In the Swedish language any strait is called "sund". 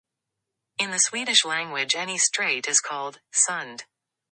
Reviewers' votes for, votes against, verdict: 0, 2, rejected